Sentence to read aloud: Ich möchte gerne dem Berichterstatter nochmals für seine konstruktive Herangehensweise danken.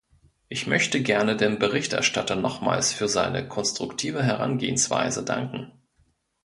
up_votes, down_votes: 2, 0